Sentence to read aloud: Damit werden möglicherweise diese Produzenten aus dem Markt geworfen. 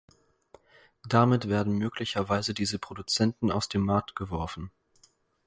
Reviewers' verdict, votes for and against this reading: accepted, 4, 0